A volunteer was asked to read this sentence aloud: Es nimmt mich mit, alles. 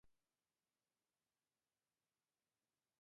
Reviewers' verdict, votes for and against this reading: rejected, 0, 2